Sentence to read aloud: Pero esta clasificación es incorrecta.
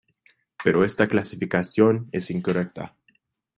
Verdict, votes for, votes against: accepted, 3, 2